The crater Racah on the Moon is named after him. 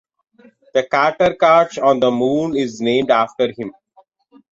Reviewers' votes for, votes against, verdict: 1, 2, rejected